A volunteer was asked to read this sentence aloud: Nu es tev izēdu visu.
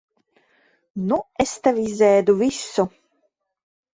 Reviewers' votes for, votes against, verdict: 2, 0, accepted